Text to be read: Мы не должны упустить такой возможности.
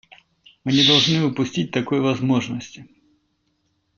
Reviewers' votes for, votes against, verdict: 2, 0, accepted